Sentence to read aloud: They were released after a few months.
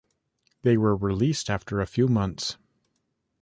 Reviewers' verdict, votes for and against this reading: accepted, 2, 0